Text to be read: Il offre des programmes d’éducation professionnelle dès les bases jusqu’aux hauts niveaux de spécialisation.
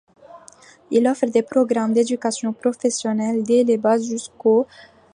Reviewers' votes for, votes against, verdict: 0, 2, rejected